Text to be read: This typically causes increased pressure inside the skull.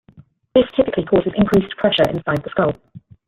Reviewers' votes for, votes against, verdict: 2, 1, accepted